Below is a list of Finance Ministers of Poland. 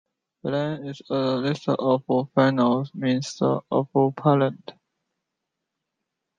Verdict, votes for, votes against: rejected, 0, 2